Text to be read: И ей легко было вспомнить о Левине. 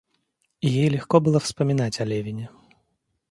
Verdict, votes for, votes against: rejected, 0, 2